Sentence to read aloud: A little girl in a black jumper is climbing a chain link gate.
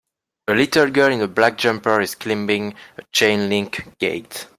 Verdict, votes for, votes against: accepted, 2, 0